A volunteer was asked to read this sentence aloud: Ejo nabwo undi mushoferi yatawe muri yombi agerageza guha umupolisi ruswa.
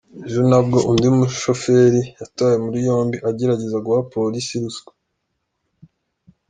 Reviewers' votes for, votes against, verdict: 2, 0, accepted